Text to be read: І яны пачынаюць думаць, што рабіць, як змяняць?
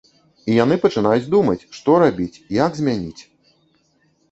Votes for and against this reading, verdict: 1, 2, rejected